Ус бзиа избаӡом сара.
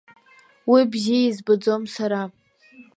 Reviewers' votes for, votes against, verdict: 1, 2, rejected